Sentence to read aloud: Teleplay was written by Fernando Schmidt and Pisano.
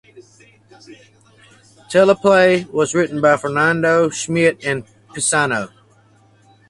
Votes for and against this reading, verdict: 4, 0, accepted